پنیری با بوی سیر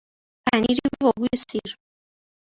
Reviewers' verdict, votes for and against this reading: rejected, 0, 2